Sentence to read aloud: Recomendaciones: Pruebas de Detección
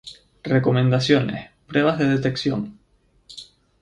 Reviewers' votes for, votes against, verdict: 2, 0, accepted